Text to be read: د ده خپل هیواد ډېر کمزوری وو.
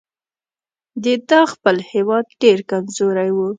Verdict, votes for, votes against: accepted, 2, 0